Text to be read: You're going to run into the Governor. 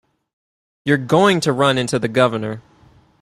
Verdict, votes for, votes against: accepted, 4, 0